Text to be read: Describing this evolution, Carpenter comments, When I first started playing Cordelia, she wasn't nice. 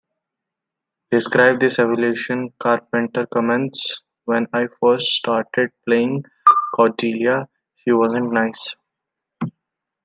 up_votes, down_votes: 2, 0